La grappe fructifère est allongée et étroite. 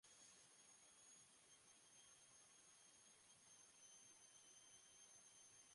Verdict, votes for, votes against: rejected, 0, 3